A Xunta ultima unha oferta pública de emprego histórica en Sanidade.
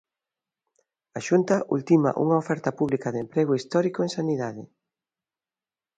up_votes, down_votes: 0, 2